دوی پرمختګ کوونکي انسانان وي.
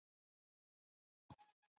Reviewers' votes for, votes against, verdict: 0, 2, rejected